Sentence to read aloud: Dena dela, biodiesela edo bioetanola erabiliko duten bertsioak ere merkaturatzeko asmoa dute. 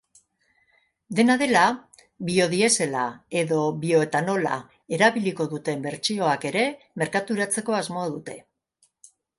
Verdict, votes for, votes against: accepted, 2, 0